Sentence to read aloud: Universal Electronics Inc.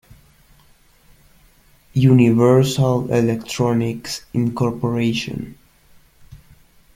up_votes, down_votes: 1, 2